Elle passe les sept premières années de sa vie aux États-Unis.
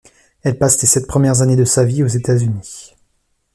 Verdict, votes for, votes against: accepted, 2, 0